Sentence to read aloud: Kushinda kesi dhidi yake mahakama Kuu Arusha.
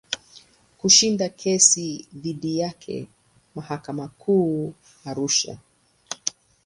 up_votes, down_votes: 4, 0